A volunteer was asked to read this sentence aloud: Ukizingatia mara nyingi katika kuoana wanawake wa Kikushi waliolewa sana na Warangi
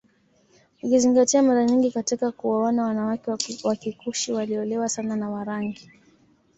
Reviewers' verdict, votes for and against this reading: accepted, 2, 0